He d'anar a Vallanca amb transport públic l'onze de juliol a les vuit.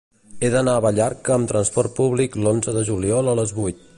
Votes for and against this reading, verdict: 1, 2, rejected